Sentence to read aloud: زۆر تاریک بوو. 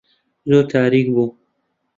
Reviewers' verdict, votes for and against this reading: rejected, 1, 2